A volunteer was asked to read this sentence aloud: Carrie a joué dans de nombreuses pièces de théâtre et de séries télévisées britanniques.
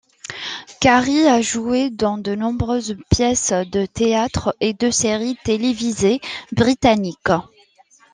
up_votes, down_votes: 2, 0